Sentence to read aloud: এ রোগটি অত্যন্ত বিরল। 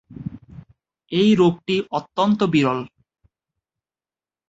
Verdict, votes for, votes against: rejected, 0, 3